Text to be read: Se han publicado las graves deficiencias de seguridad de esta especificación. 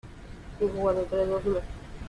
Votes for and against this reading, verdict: 0, 2, rejected